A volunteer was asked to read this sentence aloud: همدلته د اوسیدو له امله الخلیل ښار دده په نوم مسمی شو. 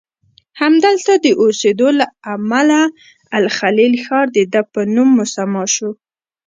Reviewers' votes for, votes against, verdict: 1, 2, rejected